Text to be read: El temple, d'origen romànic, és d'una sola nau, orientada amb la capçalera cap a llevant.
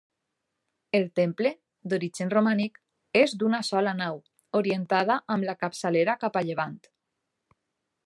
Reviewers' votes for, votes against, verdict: 3, 0, accepted